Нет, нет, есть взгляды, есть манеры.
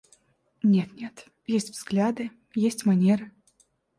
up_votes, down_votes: 0, 2